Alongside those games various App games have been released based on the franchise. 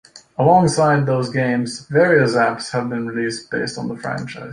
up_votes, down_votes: 1, 2